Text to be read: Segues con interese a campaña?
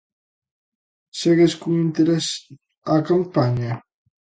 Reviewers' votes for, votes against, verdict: 0, 2, rejected